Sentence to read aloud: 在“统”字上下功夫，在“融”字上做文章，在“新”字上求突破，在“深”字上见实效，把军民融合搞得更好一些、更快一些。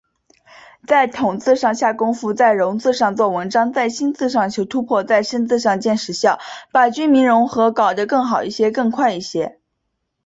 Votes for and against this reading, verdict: 3, 1, accepted